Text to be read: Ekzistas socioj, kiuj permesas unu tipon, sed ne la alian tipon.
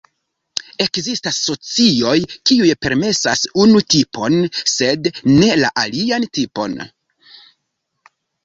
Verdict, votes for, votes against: rejected, 1, 2